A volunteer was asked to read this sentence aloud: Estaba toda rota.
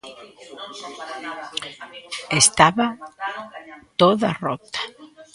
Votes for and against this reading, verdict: 1, 2, rejected